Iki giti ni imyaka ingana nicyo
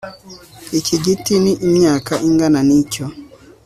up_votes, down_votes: 2, 0